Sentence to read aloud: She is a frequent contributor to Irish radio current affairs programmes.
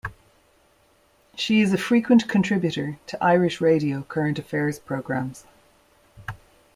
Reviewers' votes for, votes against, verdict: 2, 0, accepted